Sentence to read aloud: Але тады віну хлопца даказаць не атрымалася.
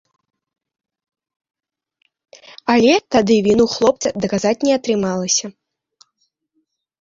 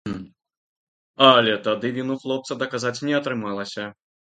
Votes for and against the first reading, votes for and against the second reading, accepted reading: 1, 2, 2, 0, second